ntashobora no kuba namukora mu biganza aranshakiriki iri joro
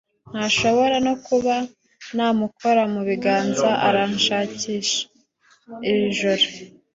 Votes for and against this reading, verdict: 1, 2, rejected